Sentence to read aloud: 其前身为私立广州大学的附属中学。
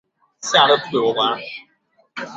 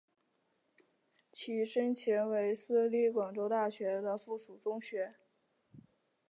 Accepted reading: second